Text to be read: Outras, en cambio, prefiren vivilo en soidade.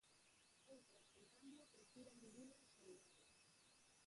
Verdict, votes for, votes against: rejected, 0, 4